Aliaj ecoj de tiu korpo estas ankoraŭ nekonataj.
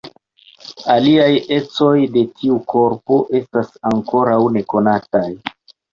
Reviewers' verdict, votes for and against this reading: accepted, 2, 0